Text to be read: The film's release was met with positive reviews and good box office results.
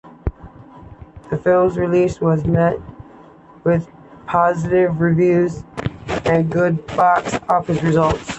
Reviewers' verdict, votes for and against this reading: accepted, 2, 0